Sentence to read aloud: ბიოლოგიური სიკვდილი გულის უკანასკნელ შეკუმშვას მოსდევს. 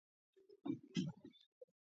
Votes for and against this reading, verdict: 0, 2, rejected